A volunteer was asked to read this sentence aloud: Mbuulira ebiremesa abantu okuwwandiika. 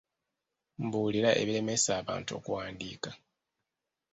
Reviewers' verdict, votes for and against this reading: rejected, 0, 2